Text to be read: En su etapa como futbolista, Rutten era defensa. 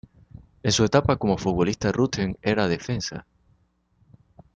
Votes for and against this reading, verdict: 2, 0, accepted